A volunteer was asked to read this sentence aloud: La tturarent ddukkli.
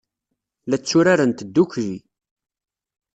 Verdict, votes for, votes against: accepted, 2, 0